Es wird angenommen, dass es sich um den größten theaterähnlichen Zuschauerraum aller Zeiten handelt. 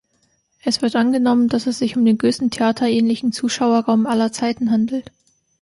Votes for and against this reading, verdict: 3, 0, accepted